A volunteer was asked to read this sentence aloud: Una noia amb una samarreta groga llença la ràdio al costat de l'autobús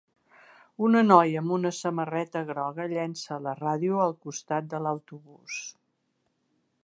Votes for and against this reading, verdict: 3, 0, accepted